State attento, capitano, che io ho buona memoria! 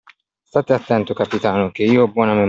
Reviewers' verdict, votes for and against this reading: rejected, 0, 2